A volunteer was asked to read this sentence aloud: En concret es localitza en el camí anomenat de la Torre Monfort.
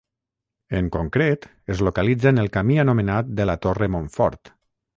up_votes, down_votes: 0, 3